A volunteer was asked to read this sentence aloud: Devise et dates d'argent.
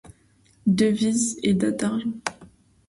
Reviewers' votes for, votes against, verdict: 1, 2, rejected